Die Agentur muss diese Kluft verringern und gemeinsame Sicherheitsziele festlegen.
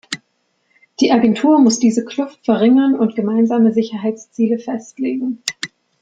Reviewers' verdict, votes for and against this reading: accepted, 2, 0